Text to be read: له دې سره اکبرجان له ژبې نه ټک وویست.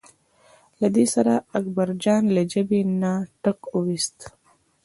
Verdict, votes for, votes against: accepted, 2, 0